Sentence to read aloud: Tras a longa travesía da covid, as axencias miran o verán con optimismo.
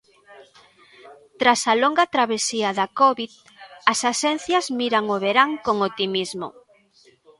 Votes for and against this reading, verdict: 1, 2, rejected